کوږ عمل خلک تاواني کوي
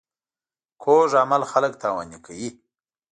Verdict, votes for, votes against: accepted, 2, 0